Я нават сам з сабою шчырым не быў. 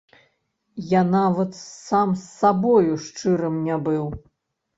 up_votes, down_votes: 1, 2